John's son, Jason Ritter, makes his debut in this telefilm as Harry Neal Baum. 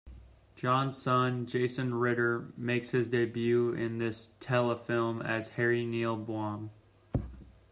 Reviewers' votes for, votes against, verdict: 2, 0, accepted